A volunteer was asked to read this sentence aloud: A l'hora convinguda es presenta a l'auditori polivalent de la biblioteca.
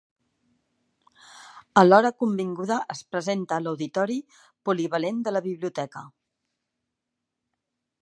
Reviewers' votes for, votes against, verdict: 2, 0, accepted